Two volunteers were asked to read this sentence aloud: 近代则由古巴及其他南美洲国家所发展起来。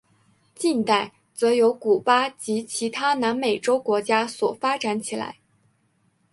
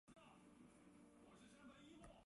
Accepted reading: first